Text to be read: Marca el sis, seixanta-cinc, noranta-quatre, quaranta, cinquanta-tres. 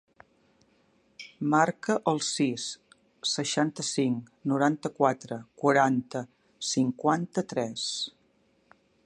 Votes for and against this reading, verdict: 3, 0, accepted